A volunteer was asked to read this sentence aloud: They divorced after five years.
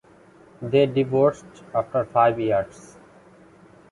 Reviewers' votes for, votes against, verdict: 2, 0, accepted